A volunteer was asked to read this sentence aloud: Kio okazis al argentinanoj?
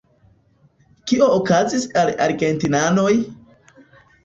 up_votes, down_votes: 0, 2